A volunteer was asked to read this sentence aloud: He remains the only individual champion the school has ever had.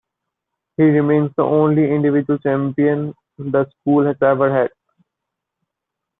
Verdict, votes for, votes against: accepted, 2, 0